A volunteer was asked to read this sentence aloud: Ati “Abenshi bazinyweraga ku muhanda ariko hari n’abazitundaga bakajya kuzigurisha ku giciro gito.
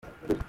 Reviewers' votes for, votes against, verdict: 0, 2, rejected